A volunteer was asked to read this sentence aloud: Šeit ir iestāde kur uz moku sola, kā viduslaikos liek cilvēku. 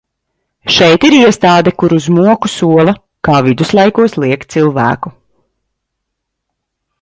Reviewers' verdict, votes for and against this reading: accepted, 2, 1